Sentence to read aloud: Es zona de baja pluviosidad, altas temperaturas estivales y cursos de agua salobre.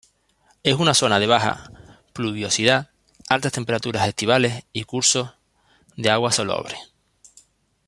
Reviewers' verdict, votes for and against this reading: rejected, 0, 2